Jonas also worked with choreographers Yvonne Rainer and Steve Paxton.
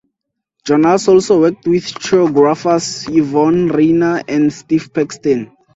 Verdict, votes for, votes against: rejected, 0, 4